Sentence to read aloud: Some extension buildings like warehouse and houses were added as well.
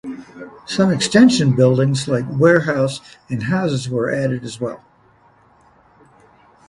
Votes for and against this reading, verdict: 2, 0, accepted